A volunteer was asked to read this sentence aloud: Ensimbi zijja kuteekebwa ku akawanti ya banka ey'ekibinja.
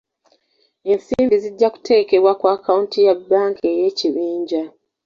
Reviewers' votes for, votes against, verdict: 2, 0, accepted